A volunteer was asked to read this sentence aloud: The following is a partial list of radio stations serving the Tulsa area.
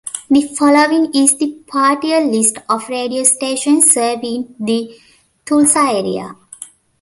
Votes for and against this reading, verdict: 0, 2, rejected